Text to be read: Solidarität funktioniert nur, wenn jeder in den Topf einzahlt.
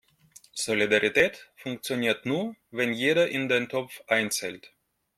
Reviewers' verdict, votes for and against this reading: rejected, 0, 2